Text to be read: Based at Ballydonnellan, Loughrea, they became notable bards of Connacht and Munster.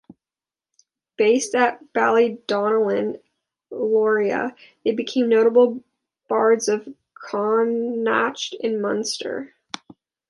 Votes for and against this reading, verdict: 0, 2, rejected